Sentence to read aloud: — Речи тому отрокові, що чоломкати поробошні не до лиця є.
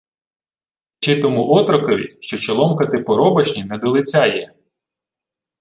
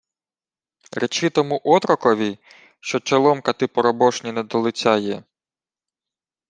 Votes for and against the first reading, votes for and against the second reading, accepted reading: 0, 2, 2, 0, second